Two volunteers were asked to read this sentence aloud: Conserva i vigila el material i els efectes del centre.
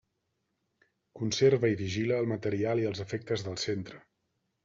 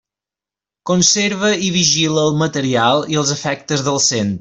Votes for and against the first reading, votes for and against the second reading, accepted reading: 4, 0, 1, 2, first